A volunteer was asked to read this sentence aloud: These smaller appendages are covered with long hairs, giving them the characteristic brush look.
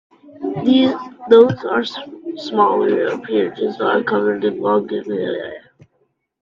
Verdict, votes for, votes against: rejected, 0, 2